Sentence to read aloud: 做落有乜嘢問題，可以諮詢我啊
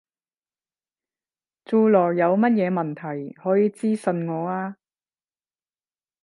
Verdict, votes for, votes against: rejected, 5, 10